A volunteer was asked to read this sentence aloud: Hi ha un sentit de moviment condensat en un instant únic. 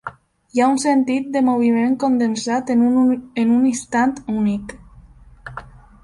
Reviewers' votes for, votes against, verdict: 0, 2, rejected